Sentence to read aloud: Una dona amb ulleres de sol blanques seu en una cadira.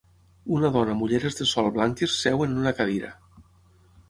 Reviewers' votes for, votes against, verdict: 6, 0, accepted